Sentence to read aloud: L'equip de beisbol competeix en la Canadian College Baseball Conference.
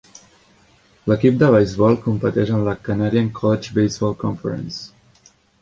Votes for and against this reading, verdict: 0, 2, rejected